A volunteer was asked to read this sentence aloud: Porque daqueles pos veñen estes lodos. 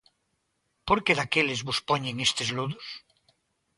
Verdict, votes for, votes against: rejected, 0, 2